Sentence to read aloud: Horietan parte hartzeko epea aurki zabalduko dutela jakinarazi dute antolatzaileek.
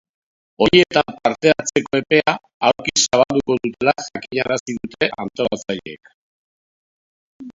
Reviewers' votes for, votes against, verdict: 0, 2, rejected